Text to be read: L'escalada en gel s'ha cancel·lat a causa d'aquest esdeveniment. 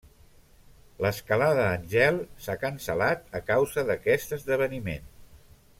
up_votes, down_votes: 1, 2